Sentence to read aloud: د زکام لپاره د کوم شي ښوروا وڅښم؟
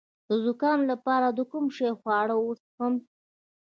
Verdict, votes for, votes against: rejected, 0, 2